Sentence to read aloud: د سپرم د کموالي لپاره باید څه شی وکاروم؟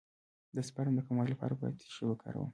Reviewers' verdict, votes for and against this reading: rejected, 0, 2